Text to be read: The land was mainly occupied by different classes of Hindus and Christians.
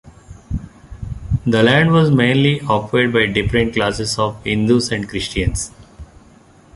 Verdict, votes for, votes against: rejected, 0, 2